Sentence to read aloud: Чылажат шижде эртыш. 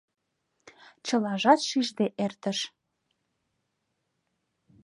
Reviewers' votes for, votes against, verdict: 2, 0, accepted